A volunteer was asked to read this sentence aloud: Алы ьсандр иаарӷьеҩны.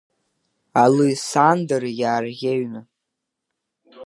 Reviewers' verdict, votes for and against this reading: rejected, 0, 3